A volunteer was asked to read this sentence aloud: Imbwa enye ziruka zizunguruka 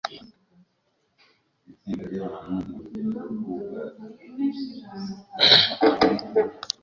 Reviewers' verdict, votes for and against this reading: rejected, 0, 2